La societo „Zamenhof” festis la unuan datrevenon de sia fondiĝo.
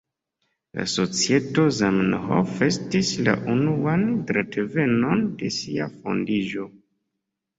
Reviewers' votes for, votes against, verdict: 1, 2, rejected